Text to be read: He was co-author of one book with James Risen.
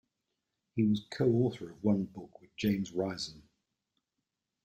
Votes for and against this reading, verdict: 1, 2, rejected